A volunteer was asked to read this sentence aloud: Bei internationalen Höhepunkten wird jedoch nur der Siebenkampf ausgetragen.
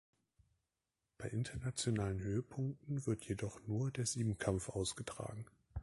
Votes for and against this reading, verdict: 2, 1, accepted